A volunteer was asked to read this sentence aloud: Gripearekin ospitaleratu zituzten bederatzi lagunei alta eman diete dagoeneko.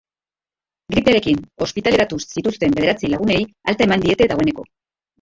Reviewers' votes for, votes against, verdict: 0, 2, rejected